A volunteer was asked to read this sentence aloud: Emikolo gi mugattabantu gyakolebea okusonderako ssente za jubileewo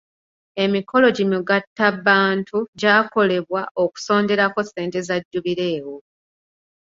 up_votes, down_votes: 1, 2